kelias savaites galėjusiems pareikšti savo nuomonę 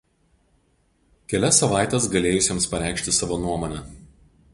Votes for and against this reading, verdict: 2, 0, accepted